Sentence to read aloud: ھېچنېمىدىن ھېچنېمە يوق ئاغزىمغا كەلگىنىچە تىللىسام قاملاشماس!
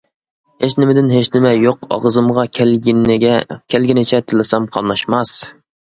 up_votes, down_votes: 0, 2